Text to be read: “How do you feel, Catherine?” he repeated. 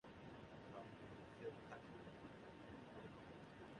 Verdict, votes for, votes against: rejected, 0, 2